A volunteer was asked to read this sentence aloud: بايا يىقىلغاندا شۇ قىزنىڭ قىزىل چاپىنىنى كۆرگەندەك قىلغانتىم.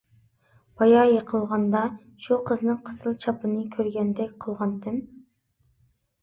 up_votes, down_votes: 2, 0